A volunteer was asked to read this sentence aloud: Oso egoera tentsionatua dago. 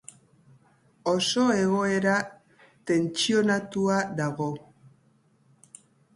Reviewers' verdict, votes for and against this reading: accepted, 3, 0